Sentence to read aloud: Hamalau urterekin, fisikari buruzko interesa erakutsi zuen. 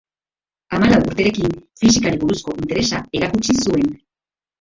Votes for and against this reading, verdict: 0, 2, rejected